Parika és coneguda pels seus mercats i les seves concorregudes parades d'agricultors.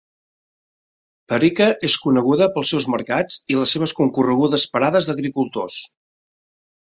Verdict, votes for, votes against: accepted, 4, 0